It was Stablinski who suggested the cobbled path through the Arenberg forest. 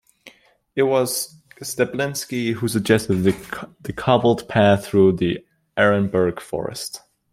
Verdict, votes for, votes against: accepted, 2, 0